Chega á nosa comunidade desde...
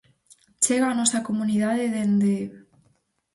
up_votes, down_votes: 0, 4